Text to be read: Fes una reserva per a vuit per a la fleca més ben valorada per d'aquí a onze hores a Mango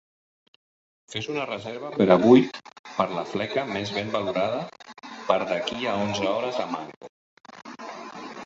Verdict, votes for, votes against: rejected, 1, 2